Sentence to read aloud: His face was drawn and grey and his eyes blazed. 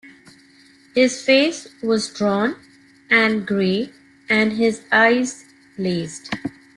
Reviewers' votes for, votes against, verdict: 3, 1, accepted